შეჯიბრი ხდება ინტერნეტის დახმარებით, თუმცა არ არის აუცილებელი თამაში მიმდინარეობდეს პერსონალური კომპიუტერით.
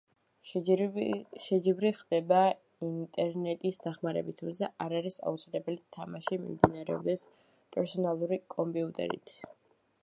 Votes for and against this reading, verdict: 0, 2, rejected